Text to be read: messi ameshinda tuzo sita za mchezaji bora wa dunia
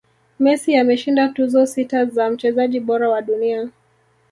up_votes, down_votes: 2, 0